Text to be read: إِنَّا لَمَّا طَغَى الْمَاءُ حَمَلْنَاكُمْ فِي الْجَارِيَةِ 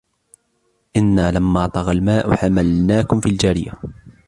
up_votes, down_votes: 2, 1